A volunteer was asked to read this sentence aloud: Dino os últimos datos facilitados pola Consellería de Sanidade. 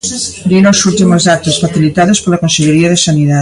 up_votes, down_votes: 0, 2